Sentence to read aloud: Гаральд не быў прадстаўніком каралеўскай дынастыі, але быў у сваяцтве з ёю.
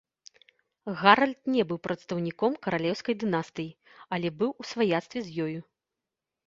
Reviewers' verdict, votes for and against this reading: rejected, 1, 2